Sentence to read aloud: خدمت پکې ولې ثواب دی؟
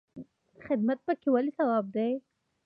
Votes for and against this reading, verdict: 2, 0, accepted